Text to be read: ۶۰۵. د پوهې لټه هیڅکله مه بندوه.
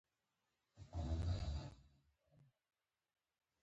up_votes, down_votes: 0, 2